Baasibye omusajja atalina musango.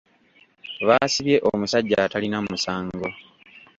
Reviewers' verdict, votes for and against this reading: accepted, 2, 0